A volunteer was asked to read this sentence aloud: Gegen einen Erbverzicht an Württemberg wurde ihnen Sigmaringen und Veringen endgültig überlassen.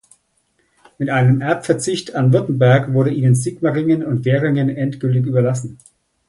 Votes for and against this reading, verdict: 1, 2, rejected